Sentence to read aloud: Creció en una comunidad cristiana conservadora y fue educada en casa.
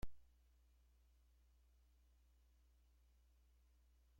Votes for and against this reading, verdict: 0, 2, rejected